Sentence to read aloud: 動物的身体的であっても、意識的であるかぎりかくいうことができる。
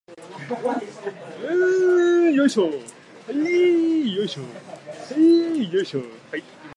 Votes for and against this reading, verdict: 0, 2, rejected